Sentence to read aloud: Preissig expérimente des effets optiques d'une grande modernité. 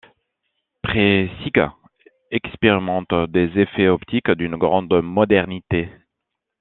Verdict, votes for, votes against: accepted, 2, 0